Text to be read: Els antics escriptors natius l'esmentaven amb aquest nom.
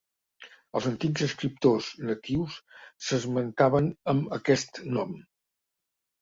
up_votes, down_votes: 0, 2